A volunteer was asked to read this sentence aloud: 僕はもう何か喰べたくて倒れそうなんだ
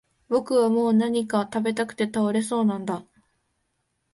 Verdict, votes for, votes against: accepted, 2, 0